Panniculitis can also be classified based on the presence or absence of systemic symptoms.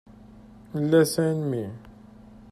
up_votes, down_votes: 0, 2